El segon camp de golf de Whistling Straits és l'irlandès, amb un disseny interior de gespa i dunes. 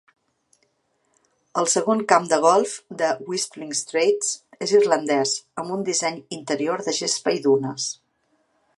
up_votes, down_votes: 2, 1